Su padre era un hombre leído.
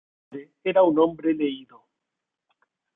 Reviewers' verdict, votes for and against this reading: rejected, 1, 2